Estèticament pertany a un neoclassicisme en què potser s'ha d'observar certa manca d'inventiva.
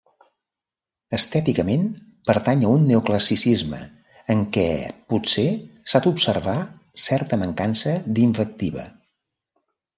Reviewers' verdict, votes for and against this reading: rejected, 0, 2